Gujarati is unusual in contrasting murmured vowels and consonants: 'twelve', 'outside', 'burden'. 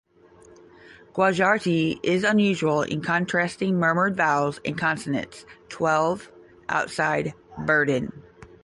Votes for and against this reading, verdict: 0, 5, rejected